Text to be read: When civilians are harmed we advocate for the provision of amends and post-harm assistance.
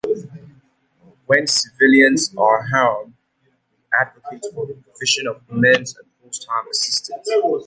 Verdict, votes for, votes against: rejected, 0, 2